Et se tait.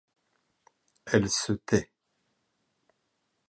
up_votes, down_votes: 0, 2